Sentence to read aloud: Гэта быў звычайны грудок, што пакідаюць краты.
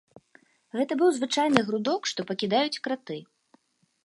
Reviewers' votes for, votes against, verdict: 2, 0, accepted